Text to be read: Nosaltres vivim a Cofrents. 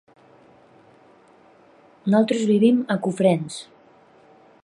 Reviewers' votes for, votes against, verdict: 1, 2, rejected